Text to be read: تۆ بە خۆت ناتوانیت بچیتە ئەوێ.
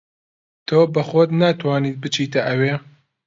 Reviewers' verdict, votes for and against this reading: accepted, 2, 0